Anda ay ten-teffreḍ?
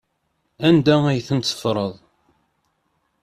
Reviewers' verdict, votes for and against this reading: accepted, 2, 0